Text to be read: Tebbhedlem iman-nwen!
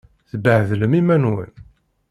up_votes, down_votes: 2, 1